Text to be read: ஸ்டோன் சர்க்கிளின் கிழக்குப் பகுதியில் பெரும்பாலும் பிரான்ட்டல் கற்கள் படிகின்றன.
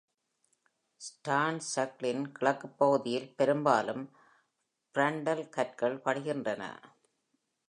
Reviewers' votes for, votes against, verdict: 2, 0, accepted